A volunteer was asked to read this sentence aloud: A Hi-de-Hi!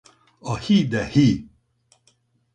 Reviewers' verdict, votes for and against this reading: rejected, 2, 2